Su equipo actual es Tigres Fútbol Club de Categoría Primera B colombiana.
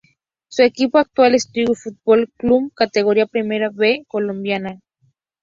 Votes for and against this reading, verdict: 2, 0, accepted